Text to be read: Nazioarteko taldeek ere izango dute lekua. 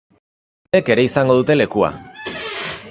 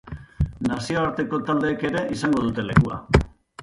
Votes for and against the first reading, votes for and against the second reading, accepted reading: 0, 3, 3, 0, second